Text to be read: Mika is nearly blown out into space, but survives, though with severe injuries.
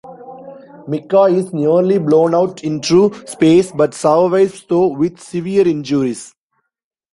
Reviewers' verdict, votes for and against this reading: rejected, 1, 2